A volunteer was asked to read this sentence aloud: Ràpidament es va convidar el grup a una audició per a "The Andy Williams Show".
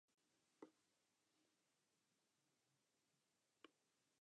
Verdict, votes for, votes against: rejected, 1, 2